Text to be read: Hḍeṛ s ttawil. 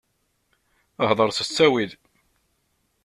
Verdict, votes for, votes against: accepted, 2, 0